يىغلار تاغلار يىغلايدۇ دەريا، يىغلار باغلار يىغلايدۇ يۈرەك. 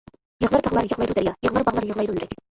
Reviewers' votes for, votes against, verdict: 0, 2, rejected